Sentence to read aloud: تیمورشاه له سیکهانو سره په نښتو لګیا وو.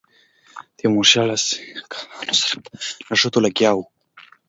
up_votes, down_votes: 2, 1